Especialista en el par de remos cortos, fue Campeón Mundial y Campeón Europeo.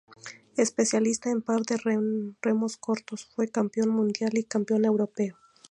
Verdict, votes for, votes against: rejected, 0, 2